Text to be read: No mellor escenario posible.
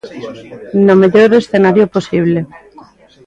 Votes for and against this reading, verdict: 2, 0, accepted